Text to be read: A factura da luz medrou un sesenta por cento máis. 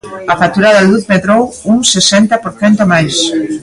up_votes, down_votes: 2, 0